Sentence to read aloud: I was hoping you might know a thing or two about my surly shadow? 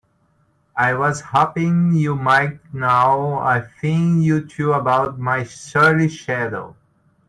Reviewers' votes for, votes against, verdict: 0, 2, rejected